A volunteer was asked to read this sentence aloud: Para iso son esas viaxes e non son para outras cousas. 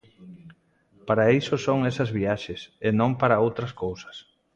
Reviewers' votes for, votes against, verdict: 0, 2, rejected